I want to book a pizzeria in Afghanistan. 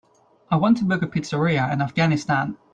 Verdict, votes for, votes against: accepted, 2, 0